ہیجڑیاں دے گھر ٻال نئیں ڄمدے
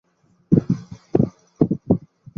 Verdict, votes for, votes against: rejected, 0, 2